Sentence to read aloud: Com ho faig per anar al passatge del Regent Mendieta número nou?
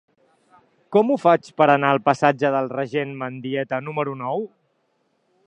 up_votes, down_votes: 2, 0